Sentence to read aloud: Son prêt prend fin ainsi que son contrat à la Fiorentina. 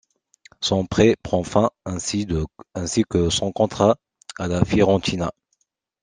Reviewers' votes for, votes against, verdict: 0, 2, rejected